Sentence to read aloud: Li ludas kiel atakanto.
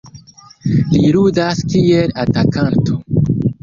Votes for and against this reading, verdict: 2, 0, accepted